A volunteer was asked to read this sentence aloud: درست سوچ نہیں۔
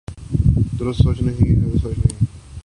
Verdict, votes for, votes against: accepted, 4, 2